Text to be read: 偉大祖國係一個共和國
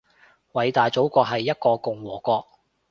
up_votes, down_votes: 2, 0